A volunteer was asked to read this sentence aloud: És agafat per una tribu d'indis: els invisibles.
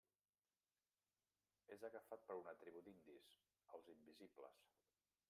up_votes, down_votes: 0, 2